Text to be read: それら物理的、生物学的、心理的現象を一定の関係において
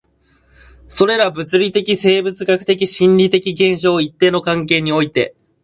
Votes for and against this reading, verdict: 2, 0, accepted